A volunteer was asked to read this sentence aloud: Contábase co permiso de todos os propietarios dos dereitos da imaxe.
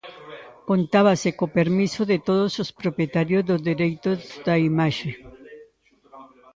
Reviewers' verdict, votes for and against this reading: rejected, 1, 2